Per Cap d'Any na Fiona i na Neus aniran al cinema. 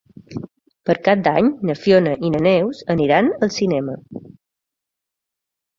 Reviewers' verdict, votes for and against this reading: accepted, 2, 0